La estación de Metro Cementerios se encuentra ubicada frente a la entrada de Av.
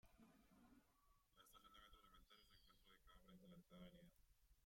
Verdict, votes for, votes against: rejected, 0, 2